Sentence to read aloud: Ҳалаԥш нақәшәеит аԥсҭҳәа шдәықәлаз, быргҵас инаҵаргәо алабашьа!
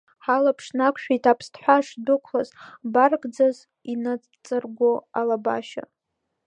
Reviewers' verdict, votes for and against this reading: rejected, 0, 2